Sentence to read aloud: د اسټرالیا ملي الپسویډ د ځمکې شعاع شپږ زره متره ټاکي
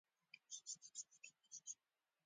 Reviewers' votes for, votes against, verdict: 1, 2, rejected